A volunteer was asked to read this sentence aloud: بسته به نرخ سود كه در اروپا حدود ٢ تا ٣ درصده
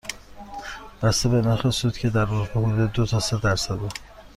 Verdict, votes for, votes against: rejected, 0, 2